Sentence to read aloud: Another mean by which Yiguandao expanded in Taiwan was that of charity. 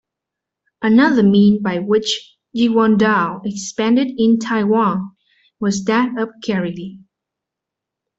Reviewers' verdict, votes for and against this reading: rejected, 1, 2